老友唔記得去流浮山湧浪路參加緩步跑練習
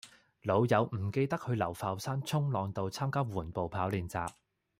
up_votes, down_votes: 1, 2